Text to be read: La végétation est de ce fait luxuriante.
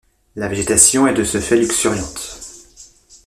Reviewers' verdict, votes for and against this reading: rejected, 0, 2